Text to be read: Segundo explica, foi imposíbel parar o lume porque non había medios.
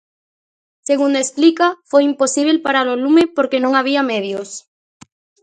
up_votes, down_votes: 2, 0